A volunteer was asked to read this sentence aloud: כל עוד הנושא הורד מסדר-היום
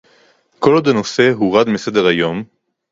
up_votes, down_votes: 2, 0